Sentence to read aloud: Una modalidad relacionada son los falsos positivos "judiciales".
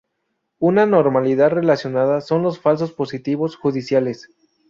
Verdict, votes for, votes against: accepted, 2, 0